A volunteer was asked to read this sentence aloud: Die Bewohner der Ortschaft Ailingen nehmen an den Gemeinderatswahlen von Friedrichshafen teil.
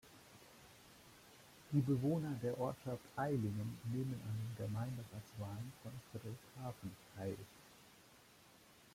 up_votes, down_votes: 2, 1